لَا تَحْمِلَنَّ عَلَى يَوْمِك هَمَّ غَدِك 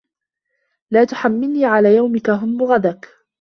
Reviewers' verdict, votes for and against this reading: rejected, 1, 2